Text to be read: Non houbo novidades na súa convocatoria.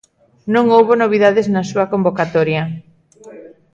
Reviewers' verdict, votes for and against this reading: accepted, 2, 1